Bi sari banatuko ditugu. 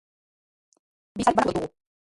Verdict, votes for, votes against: rejected, 1, 2